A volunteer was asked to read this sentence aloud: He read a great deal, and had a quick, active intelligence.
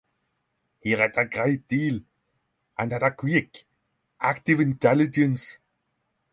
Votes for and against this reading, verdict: 3, 3, rejected